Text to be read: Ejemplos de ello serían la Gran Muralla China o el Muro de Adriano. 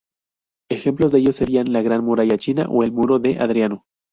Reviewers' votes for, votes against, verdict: 2, 0, accepted